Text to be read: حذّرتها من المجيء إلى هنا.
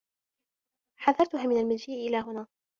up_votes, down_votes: 2, 0